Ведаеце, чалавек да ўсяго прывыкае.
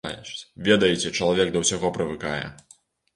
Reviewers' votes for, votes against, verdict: 0, 2, rejected